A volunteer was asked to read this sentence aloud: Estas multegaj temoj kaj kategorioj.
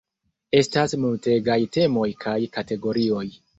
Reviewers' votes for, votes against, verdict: 3, 0, accepted